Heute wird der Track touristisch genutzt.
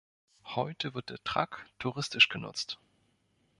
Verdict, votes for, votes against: rejected, 0, 2